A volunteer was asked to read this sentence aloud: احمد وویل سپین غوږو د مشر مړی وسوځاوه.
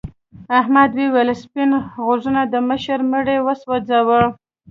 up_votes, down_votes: 1, 2